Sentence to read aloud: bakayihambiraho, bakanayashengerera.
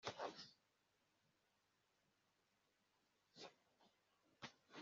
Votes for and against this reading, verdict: 1, 2, rejected